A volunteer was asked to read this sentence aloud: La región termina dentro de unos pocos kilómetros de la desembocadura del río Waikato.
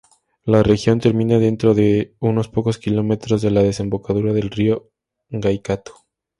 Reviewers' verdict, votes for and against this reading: accepted, 2, 0